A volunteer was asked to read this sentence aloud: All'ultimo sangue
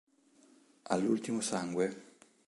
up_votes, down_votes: 2, 0